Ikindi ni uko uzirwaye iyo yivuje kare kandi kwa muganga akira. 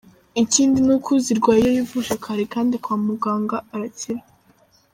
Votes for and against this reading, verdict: 0, 2, rejected